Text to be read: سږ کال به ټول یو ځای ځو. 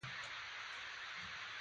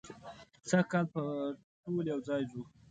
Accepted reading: second